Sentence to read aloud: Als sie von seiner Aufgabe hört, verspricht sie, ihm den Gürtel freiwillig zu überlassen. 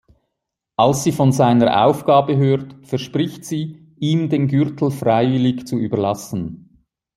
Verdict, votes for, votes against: accepted, 2, 0